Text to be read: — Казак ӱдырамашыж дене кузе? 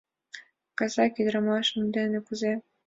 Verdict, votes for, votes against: accepted, 2, 0